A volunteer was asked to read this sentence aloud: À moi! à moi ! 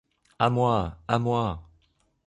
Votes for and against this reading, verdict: 3, 0, accepted